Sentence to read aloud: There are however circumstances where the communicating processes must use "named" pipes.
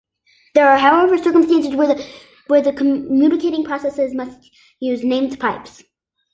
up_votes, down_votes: 0, 2